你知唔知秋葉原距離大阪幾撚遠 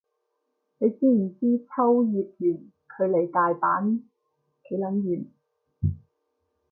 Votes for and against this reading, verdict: 2, 0, accepted